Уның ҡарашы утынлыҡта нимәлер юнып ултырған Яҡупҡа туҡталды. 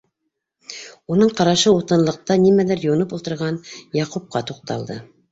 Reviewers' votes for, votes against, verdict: 2, 1, accepted